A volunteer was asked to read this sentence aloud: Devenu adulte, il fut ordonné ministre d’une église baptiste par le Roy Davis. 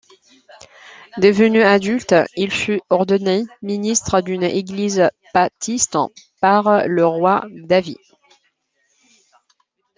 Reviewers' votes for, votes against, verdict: 0, 2, rejected